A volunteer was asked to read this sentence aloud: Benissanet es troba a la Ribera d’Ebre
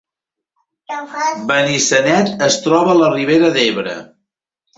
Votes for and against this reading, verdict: 0, 2, rejected